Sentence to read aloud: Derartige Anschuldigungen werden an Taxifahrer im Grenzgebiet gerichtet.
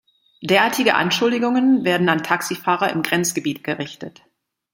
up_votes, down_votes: 2, 0